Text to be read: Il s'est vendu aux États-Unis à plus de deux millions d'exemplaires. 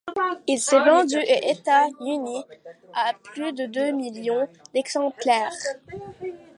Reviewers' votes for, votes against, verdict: 1, 2, rejected